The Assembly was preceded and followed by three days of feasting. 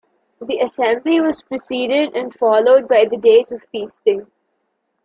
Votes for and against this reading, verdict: 0, 2, rejected